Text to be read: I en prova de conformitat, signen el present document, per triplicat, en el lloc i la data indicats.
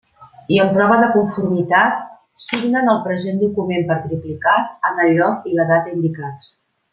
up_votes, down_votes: 2, 0